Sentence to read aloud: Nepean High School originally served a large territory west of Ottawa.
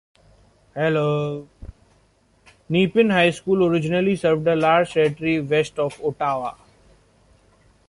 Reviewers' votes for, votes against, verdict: 1, 2, rejected